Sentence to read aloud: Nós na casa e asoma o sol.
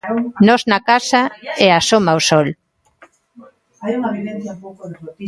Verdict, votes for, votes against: rejected, 0, 2